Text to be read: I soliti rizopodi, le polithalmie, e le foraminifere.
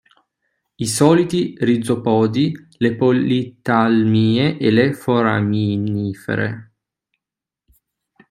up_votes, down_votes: 0, 2